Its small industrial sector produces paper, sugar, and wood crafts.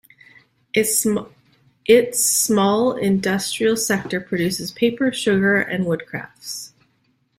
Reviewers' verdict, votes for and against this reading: accepted, 2, 0